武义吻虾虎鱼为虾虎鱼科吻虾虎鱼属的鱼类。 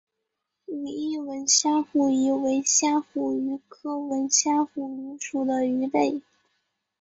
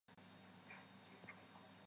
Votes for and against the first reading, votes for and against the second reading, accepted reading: 2, 1, 0, 5, first